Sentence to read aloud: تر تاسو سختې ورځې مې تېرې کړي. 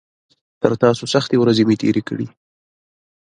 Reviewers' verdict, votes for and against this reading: accepted, 2, 1